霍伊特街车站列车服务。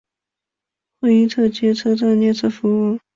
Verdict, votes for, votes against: accepted, 4, 0